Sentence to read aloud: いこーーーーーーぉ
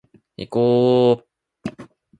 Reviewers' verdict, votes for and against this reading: accepted, 2, 0